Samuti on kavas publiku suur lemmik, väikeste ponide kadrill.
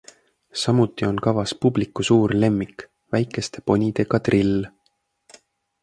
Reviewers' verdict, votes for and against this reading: accepted, 2, 0